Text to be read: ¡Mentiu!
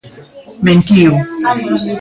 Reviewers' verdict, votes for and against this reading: rejected, 1, 2